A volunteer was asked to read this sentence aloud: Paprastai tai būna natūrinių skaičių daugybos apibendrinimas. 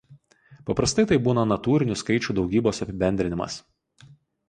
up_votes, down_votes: 4, 0